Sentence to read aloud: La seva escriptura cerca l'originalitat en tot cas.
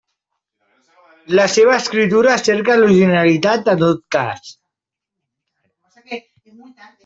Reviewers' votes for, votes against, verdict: 1, 2, rejected